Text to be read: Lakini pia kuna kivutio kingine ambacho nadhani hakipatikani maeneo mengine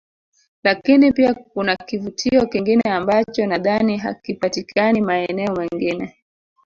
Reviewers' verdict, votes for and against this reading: rejected, 1, 2